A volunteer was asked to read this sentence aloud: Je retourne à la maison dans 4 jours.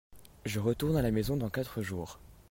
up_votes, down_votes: 0, 2